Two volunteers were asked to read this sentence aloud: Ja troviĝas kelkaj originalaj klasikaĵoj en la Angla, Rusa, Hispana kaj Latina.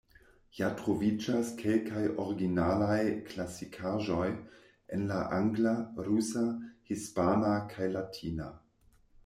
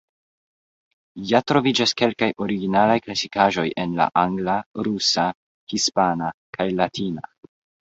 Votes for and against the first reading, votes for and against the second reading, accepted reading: 1, 2, 2, 0, second